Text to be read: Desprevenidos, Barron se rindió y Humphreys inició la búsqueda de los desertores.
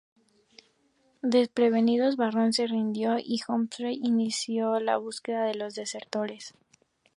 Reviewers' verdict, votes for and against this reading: accepted, 2, 0